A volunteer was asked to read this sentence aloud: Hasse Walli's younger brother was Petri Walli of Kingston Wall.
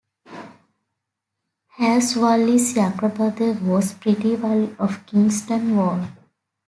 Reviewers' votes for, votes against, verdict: 2, 0, accepted